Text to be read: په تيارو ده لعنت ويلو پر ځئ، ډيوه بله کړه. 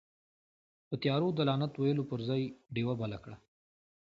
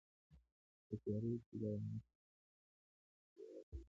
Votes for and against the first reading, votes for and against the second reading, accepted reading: 2, 0, 0, 2, first